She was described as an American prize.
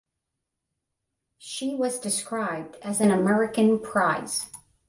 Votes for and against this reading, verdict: 10, 5, accepted